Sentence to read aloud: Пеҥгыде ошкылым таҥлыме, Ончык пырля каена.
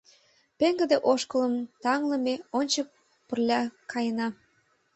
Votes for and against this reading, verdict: 2, 0, accepted